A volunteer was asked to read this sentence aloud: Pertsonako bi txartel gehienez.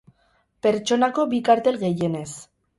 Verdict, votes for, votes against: rejected, 2, 4